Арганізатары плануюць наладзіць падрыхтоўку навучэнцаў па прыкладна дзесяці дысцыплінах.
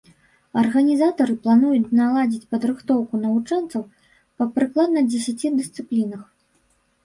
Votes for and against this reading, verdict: 2, 1, accepted